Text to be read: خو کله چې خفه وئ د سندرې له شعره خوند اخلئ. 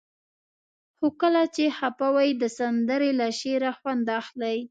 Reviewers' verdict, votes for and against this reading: accepted, 2, 0